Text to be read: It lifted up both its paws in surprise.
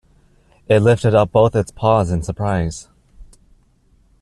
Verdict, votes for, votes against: accepted, 2, 0